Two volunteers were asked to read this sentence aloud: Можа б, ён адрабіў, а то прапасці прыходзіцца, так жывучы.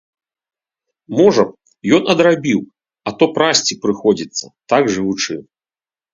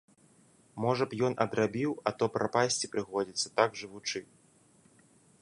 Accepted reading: second